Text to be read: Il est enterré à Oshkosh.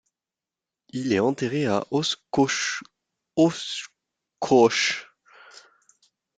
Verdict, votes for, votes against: rejected, 0, 2